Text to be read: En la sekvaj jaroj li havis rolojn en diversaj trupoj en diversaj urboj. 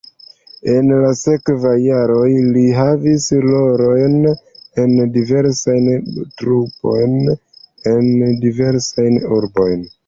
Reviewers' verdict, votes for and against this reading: rejected, 0, 2